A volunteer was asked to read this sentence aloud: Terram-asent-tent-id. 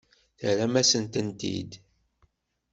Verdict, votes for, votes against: accepted, 2, 0